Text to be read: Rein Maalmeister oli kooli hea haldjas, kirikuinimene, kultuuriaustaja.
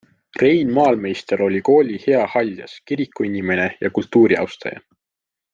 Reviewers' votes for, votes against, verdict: 2, 1, accepted